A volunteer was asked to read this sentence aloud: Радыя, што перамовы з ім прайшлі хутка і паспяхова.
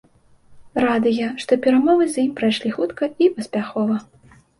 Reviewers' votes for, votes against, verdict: 2, 0, accepted